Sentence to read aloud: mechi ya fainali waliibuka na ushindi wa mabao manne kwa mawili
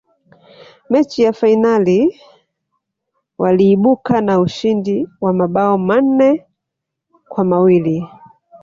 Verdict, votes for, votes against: accepted, 2, 0